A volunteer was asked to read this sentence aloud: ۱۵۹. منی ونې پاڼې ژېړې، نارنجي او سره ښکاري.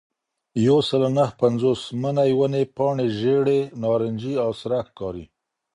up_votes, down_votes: 0, 2